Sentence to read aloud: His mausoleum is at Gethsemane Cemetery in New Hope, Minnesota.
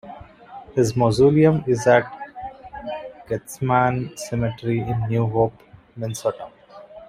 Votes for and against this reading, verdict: 1, 2, rejected